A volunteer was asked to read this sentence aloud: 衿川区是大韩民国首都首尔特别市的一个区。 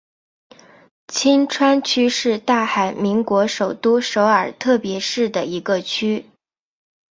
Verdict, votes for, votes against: accepted, 2, 1